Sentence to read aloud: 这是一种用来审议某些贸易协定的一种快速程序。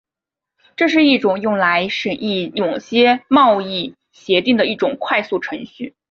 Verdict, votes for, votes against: accepted, 2, 0